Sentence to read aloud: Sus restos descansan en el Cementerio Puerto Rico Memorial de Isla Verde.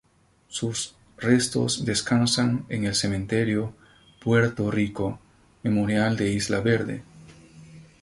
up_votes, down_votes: 2, 0